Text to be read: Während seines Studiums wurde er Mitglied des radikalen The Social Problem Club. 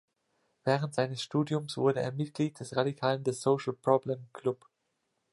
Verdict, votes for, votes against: accepted, 2, 0